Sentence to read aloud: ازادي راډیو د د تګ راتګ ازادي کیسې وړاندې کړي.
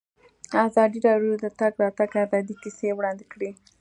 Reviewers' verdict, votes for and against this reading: accepted, 2, 1